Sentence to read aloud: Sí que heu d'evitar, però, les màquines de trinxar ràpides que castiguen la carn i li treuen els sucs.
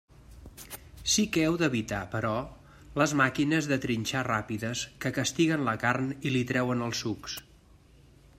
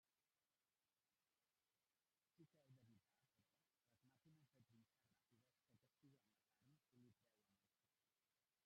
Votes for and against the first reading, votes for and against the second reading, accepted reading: 2, 0, 0, 2, first